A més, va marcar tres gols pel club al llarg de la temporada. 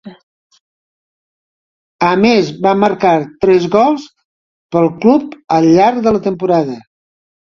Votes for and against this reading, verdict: 2, 0, accepted